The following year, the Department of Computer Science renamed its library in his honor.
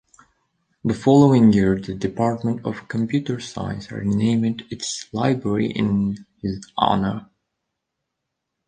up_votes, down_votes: 2, 1